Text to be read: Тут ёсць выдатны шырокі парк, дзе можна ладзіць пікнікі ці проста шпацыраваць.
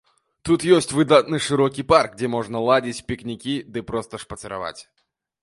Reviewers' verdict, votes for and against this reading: rejected, 1, 2